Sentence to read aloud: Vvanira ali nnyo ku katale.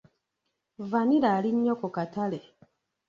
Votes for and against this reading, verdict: 2, 1, accepted